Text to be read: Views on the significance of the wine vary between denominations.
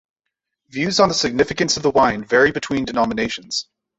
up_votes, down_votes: 2, 0